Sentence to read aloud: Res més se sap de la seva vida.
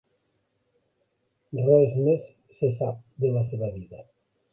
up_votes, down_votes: 2, 1